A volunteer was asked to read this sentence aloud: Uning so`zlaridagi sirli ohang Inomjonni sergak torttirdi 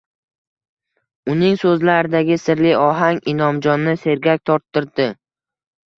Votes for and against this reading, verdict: 2, 1, accepted